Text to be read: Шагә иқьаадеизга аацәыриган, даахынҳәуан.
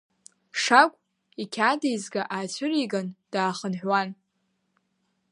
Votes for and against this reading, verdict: 0, 2, rejected